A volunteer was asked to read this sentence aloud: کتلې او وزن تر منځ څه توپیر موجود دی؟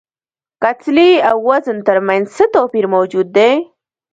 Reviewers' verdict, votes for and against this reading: accepted, 2, 1